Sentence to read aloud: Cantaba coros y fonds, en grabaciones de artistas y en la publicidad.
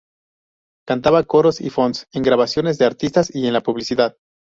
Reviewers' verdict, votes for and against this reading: accepted, 2, 0